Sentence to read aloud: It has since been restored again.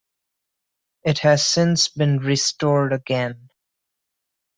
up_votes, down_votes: 2, 0